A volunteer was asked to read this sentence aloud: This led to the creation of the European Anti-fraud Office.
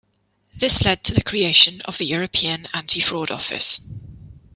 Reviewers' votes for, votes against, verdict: 2, 0, accepted